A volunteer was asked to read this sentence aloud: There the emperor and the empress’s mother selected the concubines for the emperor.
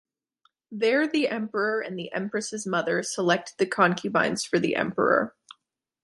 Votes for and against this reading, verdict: 2, 0, accepted